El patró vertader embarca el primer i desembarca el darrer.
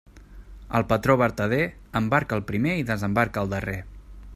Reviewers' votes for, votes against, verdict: 3, 0, accepted